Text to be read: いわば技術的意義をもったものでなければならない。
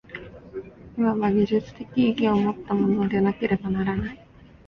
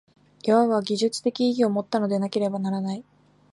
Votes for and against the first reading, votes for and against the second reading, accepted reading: 2, 1, 1, 2, first